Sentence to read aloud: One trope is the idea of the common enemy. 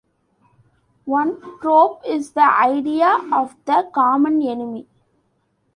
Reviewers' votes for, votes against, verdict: 2, 0, accepted